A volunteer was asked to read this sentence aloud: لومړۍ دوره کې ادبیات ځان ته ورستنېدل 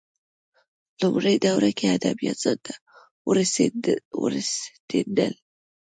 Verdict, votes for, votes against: rejected, 0, 2